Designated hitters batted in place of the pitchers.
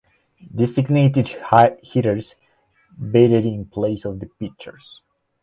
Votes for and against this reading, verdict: 1, 2, rejected